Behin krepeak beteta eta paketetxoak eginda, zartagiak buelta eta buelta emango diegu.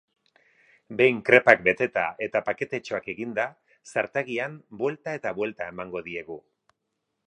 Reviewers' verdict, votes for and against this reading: rejected, 2, 2